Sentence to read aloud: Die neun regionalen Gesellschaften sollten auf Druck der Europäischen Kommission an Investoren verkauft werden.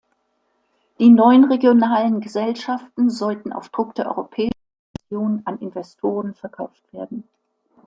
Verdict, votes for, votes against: rejected, 0, 2